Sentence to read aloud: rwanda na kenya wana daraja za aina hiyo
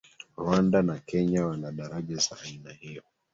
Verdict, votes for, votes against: rejected, 1, 2